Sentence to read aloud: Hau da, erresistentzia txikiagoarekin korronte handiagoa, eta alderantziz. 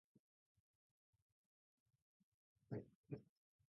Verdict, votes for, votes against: rejected, 0, 6